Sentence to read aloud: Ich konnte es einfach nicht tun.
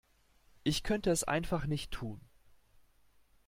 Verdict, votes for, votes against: rejected, 1, 2